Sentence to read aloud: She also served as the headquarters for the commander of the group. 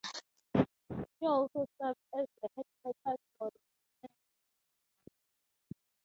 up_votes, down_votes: 0, 4